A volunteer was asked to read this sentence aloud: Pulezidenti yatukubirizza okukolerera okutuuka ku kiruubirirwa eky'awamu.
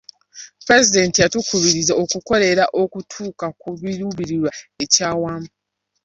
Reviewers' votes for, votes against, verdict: 0, 2, rejected